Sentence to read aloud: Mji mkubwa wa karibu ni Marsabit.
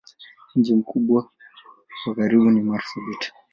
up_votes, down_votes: 1, 2